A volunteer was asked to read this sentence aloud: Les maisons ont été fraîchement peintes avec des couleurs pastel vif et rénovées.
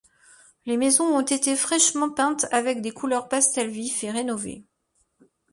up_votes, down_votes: 2, 0